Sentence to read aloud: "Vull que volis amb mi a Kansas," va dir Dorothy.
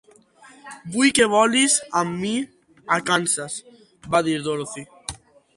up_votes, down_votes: 2, 0